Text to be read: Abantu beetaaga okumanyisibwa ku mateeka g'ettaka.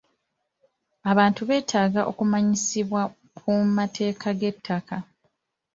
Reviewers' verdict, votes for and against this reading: accepted, 2, 1